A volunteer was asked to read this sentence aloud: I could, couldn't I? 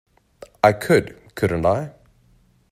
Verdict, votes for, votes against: accepted, 2, 0